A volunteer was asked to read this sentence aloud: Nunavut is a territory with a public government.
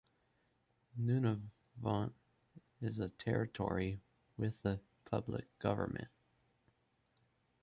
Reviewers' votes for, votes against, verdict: 1, 2, rejected